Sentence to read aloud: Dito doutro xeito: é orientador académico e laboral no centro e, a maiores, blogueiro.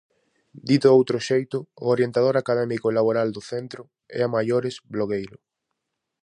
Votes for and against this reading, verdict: 0, 4, rejected